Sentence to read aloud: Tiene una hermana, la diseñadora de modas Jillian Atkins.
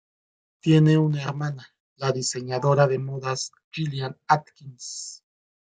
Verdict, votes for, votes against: rejected, 1, 2